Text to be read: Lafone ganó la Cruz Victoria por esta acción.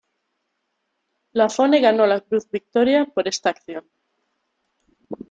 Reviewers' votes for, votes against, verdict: 2, 0, accepted